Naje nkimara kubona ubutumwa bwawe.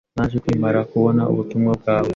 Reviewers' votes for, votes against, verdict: 2, 0, accepted